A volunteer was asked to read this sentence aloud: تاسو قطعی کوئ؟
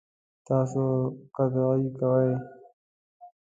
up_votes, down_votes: 2, 1